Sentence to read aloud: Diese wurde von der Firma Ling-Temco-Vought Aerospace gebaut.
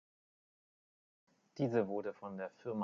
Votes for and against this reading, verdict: 0, 2, rejected